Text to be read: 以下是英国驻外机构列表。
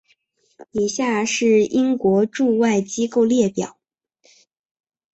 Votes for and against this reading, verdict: 0, 2, rejected